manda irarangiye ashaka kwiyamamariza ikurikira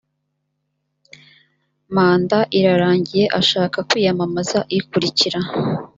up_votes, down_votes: 2, 0